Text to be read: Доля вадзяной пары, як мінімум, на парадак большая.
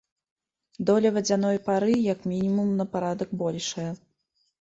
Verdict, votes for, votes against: rejected, 1, 2